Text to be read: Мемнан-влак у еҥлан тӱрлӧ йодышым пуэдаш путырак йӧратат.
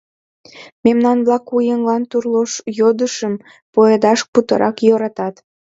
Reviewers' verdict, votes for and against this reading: accepted, 2, 0